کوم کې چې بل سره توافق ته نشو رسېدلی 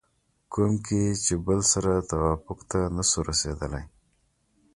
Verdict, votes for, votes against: accepted, 2, 0